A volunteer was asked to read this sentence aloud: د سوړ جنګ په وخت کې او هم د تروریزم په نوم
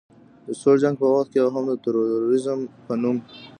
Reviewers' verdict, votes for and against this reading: rejected, 0, 2